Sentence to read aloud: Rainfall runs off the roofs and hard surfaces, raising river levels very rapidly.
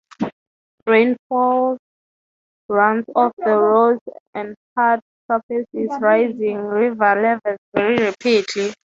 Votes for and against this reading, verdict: 0, 6, rejected